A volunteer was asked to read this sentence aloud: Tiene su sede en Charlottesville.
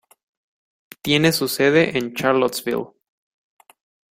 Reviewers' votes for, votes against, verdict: 2, 0, accepted